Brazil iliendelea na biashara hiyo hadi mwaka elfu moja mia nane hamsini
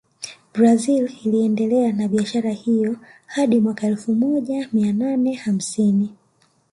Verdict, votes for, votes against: rejected, 1, 2